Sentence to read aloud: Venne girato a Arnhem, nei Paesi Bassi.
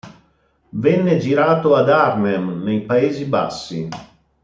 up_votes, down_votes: 2, 0